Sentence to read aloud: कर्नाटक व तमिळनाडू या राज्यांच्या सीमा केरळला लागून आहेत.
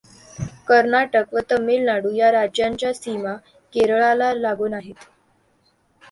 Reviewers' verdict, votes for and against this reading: accepted, 2, 0